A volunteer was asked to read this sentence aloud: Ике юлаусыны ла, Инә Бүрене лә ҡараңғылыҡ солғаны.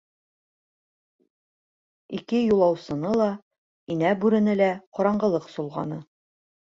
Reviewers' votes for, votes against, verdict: 2, 0, accepted